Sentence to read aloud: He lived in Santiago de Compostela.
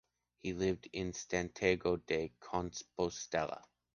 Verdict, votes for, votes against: rejected, 1, 2